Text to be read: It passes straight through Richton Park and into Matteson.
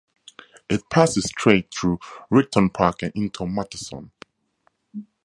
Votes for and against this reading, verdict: 2, 0, accepted